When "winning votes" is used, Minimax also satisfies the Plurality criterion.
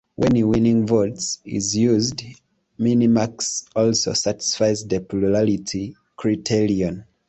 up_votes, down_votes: 2, 0